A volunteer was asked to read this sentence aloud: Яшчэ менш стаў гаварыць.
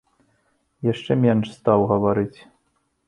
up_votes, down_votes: 2, 0